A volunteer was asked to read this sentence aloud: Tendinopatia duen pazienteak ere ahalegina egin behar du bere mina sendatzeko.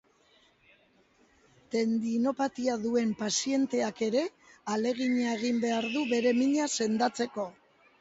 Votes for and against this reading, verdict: 1, 2, rejected